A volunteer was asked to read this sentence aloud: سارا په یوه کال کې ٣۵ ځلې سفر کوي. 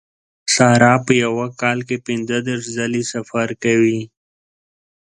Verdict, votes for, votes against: rejected, 0, 2